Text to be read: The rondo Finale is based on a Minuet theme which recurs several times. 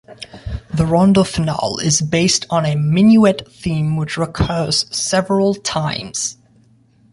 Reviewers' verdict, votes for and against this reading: rejected, 1, 2